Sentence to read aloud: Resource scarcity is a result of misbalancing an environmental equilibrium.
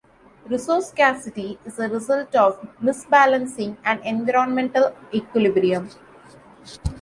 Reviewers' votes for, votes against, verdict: 2, 0, accepted